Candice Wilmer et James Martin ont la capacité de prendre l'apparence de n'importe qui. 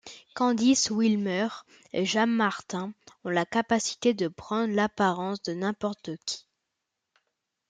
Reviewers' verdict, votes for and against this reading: accepted, 2, 1